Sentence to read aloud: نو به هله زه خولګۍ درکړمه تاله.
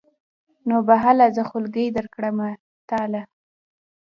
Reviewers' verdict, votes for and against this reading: rejected, 1, 2